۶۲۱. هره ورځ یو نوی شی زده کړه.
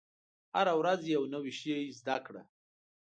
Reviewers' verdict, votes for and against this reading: rejected, 0, 2